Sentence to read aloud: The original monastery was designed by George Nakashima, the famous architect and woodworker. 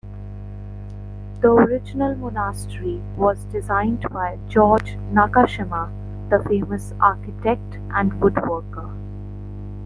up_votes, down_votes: 1, 2